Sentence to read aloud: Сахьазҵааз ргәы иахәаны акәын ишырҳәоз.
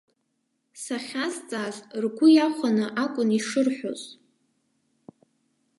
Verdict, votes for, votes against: rejected, 1, 2